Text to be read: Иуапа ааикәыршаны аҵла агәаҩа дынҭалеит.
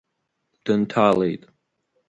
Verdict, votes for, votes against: rejected, 1, 2